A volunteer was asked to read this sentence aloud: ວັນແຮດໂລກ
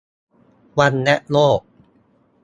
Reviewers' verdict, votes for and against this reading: rejected, 2, 4